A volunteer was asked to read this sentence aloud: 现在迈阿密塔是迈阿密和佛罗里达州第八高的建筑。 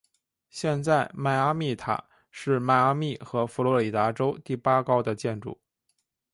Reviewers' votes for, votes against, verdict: 3, 0, accepted